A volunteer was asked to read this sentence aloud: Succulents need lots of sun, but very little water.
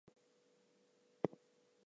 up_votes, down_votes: 0, 2